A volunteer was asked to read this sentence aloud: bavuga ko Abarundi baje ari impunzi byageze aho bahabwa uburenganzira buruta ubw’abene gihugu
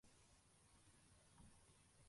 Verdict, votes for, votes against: rejected, 0, 2